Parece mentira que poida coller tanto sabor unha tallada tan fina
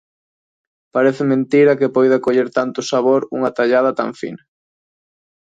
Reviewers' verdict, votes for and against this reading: accepted, 2, 0